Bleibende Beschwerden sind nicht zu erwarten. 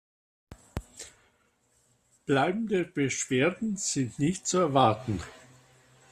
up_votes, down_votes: 2, 0